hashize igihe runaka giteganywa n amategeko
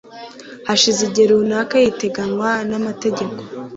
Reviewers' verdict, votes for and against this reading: rejected, 0, 2